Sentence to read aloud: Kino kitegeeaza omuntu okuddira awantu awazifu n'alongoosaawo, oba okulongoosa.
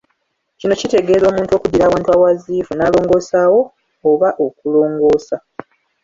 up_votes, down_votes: 2, 1